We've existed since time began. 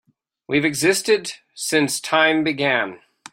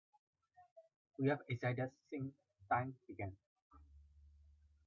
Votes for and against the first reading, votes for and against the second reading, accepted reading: 3, 0, 0, 3, first